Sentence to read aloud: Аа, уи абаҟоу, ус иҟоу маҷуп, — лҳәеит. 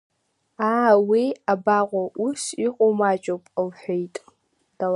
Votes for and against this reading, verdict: 1, 3, rejected